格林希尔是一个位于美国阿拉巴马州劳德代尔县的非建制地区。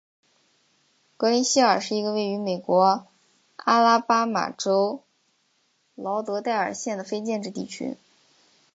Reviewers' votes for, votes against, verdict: 2, 0, accepted